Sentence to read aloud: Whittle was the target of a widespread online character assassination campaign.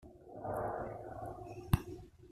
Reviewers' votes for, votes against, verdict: 0, 2, rejected